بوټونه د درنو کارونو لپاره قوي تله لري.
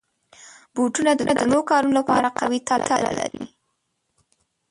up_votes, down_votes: 1, 2